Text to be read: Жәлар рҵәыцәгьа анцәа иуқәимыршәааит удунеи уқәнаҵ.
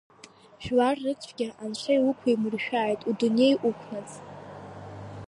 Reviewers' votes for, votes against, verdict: 0, 2, rejected